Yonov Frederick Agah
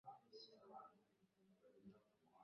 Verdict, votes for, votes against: rejected, 0, 2